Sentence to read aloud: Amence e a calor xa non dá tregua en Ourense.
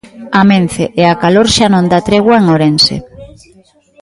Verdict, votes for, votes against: rejected, 1, 3